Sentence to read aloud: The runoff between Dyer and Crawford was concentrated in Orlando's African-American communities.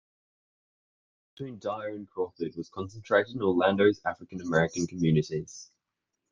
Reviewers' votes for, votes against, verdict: 0, 2, rejected